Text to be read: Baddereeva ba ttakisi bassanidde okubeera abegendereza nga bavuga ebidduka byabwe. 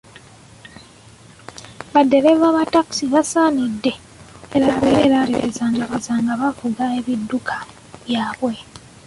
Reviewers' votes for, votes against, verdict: 0, 2, rejected